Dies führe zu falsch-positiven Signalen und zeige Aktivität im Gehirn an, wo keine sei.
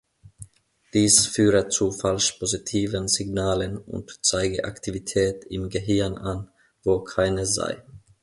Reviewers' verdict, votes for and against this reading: accepted, 2, 0